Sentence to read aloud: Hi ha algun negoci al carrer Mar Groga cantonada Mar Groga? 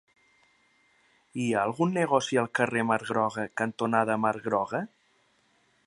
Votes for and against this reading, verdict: 4, 0, accepted